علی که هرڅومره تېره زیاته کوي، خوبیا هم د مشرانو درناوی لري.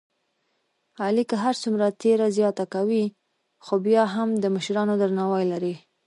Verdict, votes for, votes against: accepted, 2, 1